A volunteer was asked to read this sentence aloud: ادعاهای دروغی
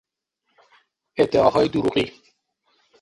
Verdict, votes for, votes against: accepted, 6, 0